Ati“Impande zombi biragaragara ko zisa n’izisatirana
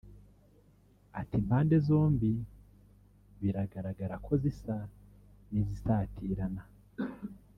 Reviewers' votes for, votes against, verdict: 2, 3, rejected